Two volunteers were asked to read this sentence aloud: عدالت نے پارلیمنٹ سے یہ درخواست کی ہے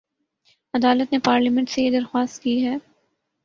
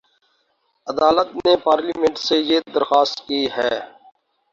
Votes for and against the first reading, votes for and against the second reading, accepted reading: 3, 0, 0, 2, first